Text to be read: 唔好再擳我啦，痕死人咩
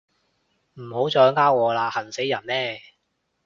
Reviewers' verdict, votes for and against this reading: rejected, 0, 2